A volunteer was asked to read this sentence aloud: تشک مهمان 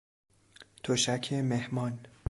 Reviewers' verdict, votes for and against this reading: accepted, 2, 0